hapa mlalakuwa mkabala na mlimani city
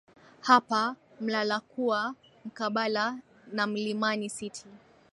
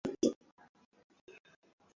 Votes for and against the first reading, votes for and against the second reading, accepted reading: 21, 0, 0, 2, first